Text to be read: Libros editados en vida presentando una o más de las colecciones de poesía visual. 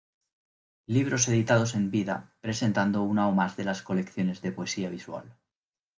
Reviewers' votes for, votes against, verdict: 2, 0, accepted